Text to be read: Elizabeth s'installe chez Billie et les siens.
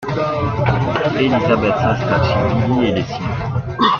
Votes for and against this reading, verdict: 0, 2, rejected